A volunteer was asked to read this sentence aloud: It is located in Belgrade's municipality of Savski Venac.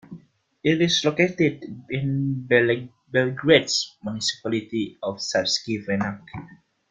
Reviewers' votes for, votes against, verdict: 0, 2, rejected